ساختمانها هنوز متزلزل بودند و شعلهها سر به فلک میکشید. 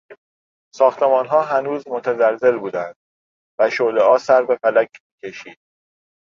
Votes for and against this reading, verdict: 1, 2, rejected